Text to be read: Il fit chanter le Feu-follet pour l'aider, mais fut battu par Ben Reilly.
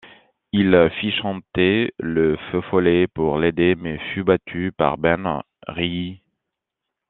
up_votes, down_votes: 2, 1